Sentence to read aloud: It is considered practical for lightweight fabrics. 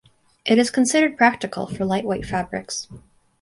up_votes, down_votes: 4, 0